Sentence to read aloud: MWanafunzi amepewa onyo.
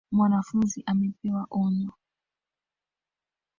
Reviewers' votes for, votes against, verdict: 1, 2, rejected